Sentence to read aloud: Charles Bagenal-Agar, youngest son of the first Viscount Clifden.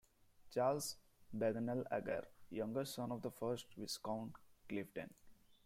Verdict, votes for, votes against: rejected, 1, 2